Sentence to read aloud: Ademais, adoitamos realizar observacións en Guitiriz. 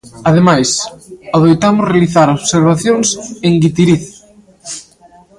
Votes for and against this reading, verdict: 2, 0, accepted